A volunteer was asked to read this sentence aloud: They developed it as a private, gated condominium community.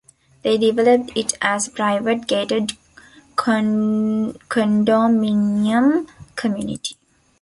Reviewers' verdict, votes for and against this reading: rejected, 1, 2